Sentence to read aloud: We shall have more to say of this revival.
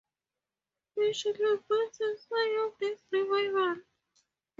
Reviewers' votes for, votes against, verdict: 0, 4, rejected